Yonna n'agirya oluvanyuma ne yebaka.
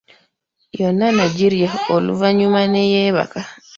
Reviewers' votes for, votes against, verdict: 1, 2, rejected